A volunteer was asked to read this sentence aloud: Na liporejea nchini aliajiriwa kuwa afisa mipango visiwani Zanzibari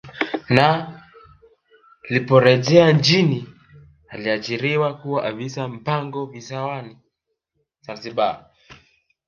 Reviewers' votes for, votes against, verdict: 1, 2, rejected